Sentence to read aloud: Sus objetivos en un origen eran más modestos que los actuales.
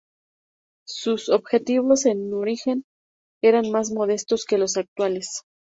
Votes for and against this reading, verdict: 0, 2, rejected